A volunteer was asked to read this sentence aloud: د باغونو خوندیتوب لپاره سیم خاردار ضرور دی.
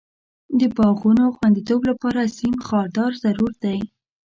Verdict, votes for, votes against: accepted, 2, 0